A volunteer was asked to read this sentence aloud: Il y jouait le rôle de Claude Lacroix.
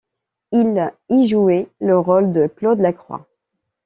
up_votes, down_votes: 2, 0